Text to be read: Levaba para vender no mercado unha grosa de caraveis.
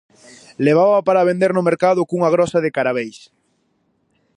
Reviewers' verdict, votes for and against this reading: rejected, 2, 2